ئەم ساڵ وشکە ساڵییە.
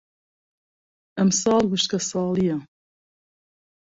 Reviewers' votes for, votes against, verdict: 2, 0, accepted